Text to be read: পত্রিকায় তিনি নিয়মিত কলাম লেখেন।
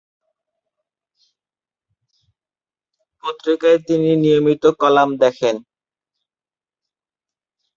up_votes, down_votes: 9, 14